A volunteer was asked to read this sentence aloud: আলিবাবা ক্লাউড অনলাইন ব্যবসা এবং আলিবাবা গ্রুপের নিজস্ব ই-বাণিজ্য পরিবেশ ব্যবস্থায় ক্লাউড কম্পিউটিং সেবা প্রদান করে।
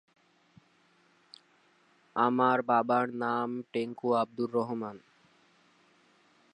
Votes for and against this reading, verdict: 0, 2, rejected